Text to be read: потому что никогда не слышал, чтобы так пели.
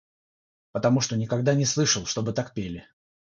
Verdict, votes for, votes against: rejected, 3, 3